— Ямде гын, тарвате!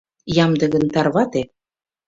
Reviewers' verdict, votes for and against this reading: accepted, 2, 0